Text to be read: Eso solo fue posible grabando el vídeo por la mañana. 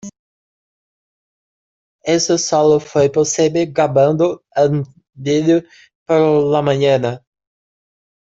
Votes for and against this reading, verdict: 0, 2, rejected